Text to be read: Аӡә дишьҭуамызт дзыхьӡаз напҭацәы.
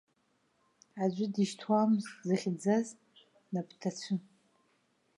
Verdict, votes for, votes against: rejected, 1, 2